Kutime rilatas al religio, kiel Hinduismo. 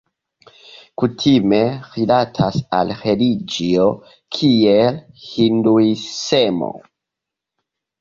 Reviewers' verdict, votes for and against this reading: rejected, 1, 2